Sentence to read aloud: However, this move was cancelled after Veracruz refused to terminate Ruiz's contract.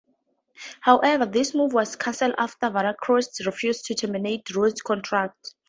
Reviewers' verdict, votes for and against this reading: accepted, 4, 0